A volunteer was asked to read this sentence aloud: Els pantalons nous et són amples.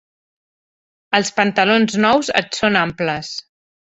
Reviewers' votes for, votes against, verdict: 4, 0, accepted